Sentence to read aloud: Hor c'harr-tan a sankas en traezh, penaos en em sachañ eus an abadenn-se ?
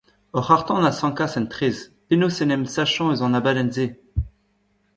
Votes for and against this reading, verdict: 1, 2, rejected